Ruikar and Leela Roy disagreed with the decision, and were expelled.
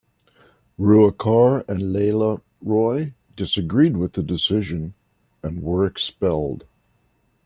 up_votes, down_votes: 2, 0